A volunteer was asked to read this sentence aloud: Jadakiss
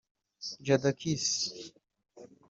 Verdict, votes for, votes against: rejected, 0, 2